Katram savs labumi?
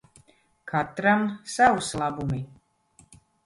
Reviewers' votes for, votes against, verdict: 0, 2, rejected